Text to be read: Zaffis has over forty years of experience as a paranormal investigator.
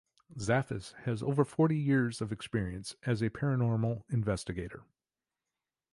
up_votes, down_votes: 2, 0